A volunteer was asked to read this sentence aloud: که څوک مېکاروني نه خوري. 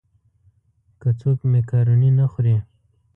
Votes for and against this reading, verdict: 1, 2, rejected